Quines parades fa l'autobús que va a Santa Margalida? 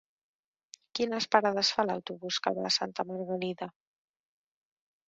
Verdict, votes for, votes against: rejected, 2, 3